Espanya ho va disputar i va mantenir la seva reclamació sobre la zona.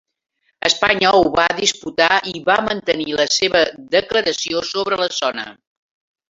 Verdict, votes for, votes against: rejected, 0, 3